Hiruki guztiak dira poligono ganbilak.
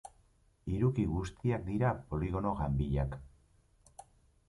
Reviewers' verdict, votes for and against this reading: accepted, 2, 1